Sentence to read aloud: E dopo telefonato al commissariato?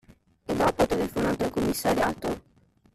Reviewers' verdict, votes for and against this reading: accepted, 2, 0